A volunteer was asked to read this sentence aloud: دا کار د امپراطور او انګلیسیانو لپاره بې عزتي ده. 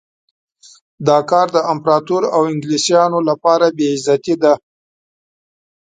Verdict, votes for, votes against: accepted, 3, 0